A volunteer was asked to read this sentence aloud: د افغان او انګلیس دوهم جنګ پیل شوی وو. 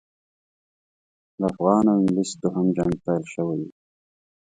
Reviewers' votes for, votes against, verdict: 2, 0, accepted